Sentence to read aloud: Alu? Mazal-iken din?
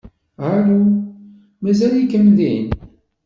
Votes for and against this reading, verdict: 1, 2, rejected